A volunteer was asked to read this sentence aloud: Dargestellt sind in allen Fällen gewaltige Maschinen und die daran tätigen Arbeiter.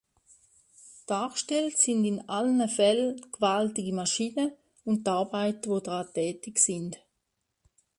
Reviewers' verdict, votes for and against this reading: rejected, 0, 2